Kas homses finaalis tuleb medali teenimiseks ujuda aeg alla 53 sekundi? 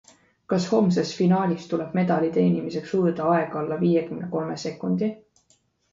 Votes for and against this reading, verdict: 0, 2, rejected